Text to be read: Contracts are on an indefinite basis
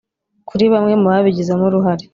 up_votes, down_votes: 1, 2